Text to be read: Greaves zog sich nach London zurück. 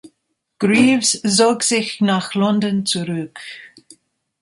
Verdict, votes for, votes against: rejected, 0, 2